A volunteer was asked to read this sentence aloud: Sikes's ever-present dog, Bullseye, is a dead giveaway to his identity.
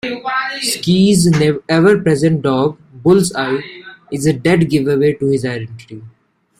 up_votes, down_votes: 2, 0